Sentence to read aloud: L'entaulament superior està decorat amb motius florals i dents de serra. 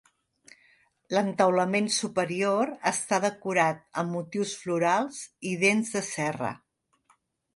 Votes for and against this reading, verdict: 2, 0, accepted